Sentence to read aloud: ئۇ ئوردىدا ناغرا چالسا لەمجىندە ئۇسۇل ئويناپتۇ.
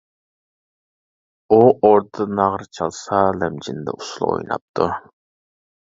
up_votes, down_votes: 0, 2